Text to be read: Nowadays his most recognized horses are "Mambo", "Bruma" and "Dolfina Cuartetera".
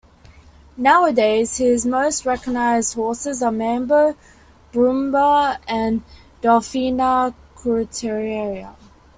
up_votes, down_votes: 2, 1